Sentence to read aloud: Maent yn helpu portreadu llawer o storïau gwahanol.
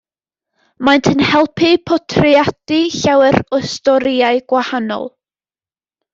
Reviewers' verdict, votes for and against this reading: accepted, 2, 0